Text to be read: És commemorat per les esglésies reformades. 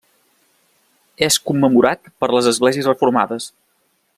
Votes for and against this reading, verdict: 3, 0, accepted